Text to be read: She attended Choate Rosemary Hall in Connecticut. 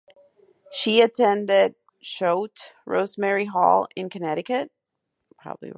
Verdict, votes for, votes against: rejected, 2, 2